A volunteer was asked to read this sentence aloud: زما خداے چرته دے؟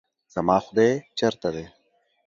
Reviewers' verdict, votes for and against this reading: accepted, 2, 0